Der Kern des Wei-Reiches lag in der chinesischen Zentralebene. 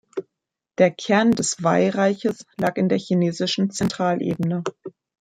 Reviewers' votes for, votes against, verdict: 1, 2, rejected